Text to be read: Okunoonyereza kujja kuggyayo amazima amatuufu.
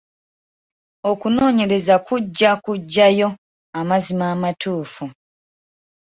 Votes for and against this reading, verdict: 2, 0, accepted